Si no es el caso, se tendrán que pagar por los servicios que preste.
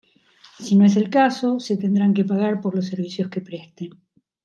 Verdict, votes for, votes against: accepted, 2, 0